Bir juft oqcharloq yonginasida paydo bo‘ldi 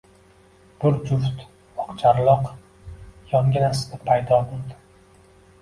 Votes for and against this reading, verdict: 2, 0, accepted